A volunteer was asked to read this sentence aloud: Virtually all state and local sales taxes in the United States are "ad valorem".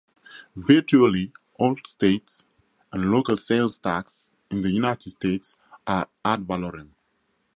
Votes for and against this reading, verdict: 2, 2, rejected